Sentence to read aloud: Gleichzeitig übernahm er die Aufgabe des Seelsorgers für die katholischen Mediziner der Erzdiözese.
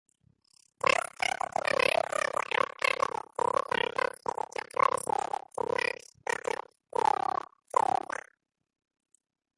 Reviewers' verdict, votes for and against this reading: rejected, 0, 2